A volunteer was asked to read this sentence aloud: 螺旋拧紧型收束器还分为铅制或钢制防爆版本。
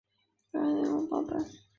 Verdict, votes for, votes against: rejected, 2, 4